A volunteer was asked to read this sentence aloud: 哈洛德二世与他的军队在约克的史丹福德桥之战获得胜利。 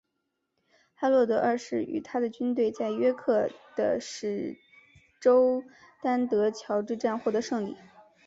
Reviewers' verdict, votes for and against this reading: rejected, 2, 3